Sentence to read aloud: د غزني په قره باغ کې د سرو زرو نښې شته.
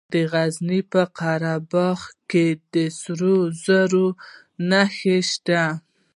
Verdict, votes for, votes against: accepted, 2, 0